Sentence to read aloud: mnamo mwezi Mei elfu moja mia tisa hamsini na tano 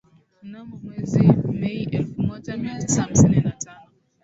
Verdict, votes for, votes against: rejected, 0, 2